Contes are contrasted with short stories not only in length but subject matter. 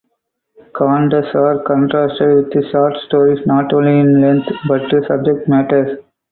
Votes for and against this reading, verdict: 0, 2, rejected